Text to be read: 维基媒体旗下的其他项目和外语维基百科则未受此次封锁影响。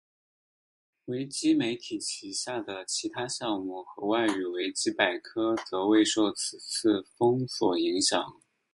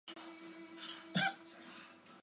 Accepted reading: first